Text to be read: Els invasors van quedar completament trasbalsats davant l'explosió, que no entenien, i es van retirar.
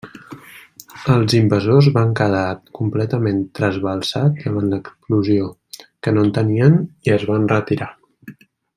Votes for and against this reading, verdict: 1, 2, rejected